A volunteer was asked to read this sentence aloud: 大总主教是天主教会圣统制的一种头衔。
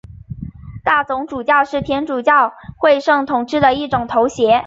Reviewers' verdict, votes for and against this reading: rejected, 2, 3